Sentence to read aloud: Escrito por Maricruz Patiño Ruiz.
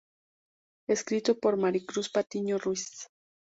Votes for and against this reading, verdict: 2, 0, accepted